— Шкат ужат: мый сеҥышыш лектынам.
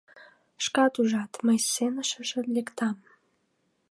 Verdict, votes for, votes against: accepted, 2, 1